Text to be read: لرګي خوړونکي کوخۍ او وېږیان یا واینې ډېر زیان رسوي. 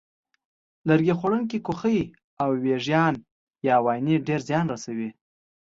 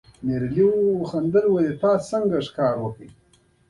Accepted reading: first